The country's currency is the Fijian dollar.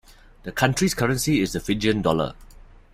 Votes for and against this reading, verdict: 2, 0, accepted